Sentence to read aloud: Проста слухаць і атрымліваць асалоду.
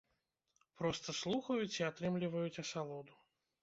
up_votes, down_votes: 0, 2